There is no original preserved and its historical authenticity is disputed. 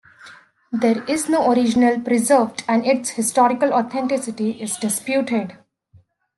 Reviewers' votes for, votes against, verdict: 2, 0, accepted